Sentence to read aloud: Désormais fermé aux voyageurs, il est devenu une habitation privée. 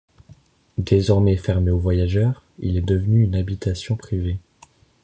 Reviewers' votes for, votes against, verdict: 2, 0, accepted